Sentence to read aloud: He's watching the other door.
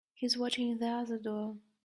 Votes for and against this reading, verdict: 3, 0, accepted